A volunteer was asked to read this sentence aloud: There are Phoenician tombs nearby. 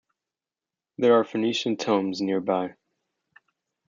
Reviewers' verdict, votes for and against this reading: accepted, 2, 0